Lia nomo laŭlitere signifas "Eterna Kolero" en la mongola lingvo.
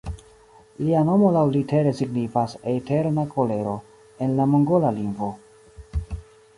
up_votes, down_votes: 2, 0